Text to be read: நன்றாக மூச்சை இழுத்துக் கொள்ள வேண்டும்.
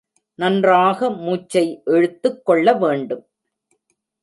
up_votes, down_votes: 2, 0